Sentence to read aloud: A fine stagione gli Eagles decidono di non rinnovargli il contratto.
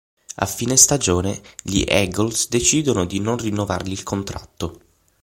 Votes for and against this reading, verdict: 3, 6, rejected